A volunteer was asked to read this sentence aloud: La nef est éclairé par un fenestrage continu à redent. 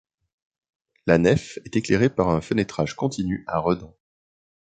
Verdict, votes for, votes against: rejected, 1, 2